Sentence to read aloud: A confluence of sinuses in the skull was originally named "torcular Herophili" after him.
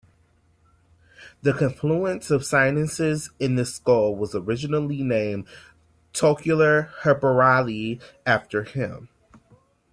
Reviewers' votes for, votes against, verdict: 1, 2, rejected